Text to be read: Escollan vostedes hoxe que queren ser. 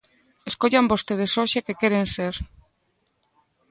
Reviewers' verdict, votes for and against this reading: accepted, 2, 0